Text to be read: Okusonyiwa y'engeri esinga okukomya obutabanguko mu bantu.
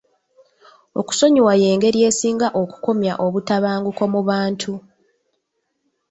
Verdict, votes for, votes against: accepted, 2, 0